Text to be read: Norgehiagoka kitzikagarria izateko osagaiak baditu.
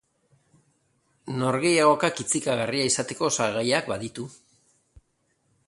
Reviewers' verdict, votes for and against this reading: rejected, 0, 2